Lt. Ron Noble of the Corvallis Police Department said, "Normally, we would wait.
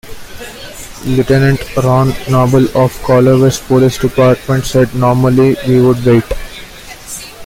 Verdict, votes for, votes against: accepted, 2, 1